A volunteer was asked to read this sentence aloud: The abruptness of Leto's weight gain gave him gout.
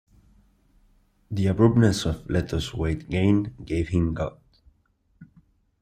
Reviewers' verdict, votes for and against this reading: accepted, 2, 1